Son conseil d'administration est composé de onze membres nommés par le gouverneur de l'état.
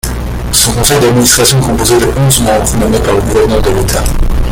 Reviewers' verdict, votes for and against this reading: rejected, 1, 2